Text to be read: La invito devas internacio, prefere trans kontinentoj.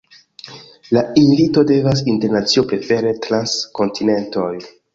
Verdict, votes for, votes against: rejected, 1, 2